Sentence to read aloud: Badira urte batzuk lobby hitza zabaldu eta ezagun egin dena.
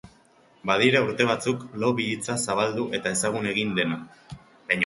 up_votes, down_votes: 0, 2